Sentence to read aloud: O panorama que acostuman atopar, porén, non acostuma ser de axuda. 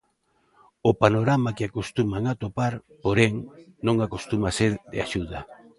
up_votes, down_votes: 2, 0